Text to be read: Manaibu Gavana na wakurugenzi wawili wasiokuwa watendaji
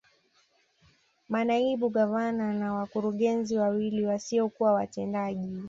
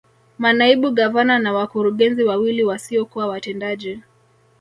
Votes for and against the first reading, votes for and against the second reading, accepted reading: 2, 1, 1, 2, first